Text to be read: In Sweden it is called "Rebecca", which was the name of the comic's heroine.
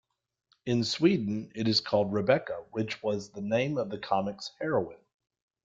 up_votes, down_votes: 3, 1